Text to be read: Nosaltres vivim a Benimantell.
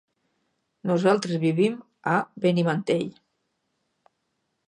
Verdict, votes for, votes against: accepted, 6, 0